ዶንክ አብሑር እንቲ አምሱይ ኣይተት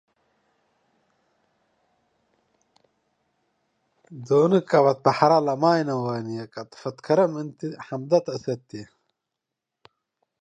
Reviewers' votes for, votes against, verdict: 0, 2, rejected